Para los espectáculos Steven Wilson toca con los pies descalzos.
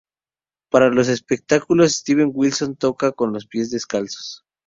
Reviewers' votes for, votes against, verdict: 0, 2, rejected